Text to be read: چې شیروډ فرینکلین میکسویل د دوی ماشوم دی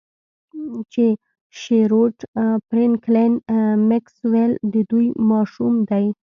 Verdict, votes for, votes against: rejected, 0, 2